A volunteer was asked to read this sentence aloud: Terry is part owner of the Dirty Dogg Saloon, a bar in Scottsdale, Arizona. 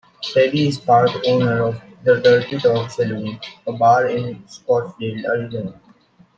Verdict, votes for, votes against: rejected, 0, 2